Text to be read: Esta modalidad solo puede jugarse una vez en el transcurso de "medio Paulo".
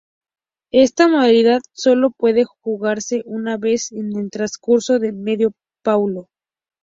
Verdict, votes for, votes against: accepted, 2, 0